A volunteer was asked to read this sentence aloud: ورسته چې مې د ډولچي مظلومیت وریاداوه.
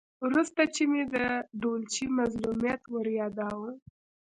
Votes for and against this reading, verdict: 1, 2, rejected